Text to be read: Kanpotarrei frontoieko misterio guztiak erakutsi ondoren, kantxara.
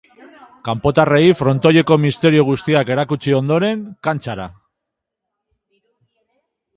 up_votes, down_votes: 2, 0